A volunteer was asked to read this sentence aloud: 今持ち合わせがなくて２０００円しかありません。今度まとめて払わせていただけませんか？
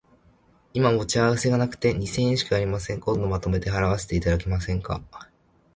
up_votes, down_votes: 0, 2